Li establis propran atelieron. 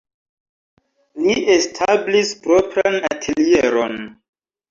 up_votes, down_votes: 2, 1